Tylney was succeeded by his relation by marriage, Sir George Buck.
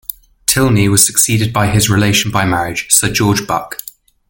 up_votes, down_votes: 2, 0